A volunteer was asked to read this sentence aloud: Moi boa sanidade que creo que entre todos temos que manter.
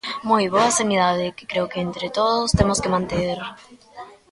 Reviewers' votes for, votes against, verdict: 0, 2, rejected